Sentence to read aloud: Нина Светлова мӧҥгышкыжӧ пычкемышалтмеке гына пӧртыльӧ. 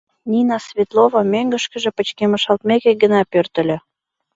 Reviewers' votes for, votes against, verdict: 2, 0, accepted